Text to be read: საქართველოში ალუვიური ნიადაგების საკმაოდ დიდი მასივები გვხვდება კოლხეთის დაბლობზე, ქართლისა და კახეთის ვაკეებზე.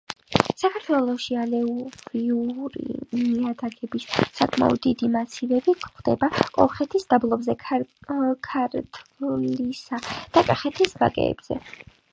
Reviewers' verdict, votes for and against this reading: rejected, 0, 2